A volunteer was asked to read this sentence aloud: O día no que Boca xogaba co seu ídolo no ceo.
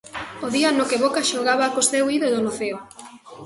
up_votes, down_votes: 1, 2